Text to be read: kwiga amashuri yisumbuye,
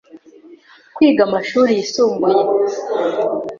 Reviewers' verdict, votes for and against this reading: accepted, 2, 0